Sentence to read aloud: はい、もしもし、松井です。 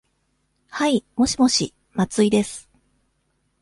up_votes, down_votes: 2, 0